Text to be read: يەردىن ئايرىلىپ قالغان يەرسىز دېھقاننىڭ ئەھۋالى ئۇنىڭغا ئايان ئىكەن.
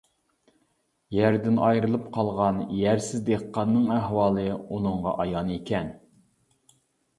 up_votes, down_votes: 2, 0